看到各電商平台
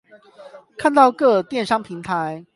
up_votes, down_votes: 8, 0